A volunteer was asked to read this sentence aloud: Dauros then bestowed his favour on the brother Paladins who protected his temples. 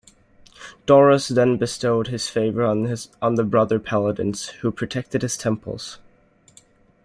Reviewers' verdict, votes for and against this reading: rejected, 1, 2